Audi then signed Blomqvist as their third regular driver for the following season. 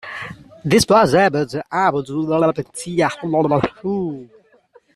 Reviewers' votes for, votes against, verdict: 0, 2, rejected